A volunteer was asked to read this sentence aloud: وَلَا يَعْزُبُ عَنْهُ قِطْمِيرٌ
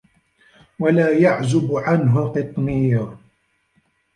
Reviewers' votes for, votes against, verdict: 0, 2, rejected